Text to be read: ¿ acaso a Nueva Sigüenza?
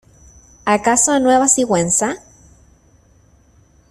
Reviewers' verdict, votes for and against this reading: accepted, 2, 0